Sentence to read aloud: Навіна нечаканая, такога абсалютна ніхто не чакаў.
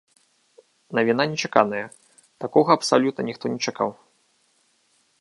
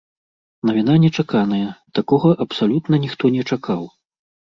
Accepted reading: first